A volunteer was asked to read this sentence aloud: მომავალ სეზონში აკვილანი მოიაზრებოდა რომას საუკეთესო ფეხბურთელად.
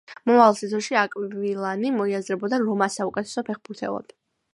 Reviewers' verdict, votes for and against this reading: accepted, 2, 0